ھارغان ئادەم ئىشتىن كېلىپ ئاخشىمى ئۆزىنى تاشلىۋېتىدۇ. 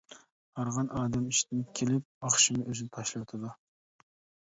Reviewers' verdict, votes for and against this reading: rejected, 0, 2